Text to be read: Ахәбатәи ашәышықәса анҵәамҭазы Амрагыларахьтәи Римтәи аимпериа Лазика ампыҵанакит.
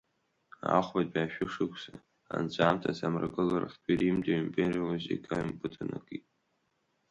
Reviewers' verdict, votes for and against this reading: rejected, 1, 3